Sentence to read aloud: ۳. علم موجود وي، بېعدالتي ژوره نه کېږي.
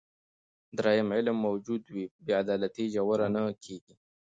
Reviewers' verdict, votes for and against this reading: rejected, 0, 2